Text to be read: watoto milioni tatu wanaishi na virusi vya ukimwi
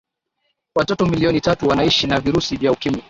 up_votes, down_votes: 2, 1